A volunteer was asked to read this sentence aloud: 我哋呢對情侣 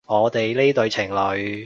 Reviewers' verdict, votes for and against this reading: accepted, 2, 0